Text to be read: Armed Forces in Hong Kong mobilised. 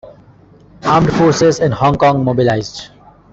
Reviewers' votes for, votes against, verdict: 1, 2, rejected